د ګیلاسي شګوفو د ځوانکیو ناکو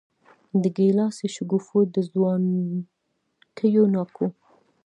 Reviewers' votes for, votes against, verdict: 2, 0, accepted